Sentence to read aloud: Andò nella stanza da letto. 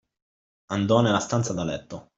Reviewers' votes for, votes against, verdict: 2, 0, accepted